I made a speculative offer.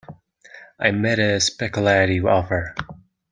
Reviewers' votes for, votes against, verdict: 1, 2, rejected